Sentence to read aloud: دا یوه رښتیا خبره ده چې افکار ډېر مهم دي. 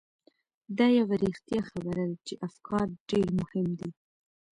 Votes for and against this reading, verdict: 1, 2, rejected